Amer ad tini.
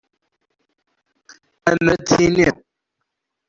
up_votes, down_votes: 0, 2